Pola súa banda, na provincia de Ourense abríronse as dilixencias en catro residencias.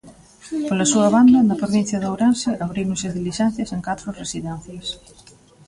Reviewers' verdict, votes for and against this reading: rejected, 0, 2